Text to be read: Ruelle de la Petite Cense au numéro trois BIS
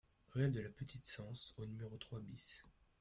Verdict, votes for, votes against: accepted, 2, 0